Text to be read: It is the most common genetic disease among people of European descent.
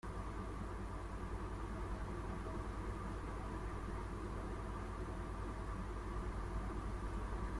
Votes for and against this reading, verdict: 0, 2, rejected